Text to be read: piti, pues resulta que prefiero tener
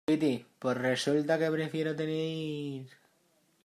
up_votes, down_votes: 1, 2